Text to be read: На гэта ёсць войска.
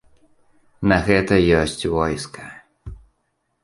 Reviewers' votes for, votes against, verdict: 2, 0, accepted